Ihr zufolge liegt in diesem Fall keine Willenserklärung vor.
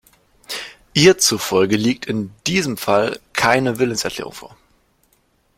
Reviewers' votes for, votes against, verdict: 2, 0, accepted